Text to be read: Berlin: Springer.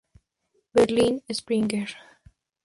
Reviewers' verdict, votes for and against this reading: accepted, 2, 0